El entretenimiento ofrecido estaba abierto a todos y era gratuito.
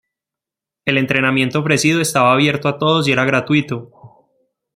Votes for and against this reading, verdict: 0, 2, rejected